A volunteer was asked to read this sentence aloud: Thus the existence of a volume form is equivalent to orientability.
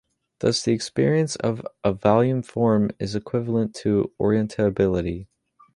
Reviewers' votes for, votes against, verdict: 1, 2, rejected